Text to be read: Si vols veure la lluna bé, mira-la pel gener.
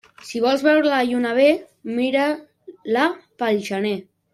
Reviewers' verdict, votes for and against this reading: rejected, 0, 2